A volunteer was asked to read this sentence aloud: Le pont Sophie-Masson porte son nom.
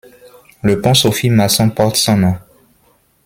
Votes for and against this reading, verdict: 1, 2, rejected